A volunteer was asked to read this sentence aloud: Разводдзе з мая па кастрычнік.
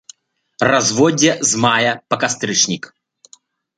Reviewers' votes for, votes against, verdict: 2, 1, accepted